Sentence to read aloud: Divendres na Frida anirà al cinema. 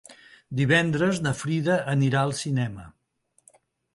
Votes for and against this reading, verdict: 3, 0, accepted